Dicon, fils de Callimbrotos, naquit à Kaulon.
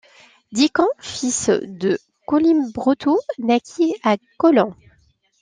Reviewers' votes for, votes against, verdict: 0, 2, rejected